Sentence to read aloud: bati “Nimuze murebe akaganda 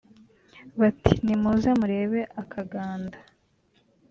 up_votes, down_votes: 4, 0